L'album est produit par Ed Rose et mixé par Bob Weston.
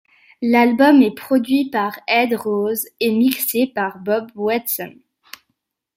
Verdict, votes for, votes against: accepted, 2, 0